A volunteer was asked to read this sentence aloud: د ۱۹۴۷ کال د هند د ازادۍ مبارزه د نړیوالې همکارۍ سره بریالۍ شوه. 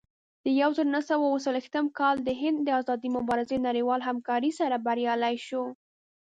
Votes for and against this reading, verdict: 0, 2, rejected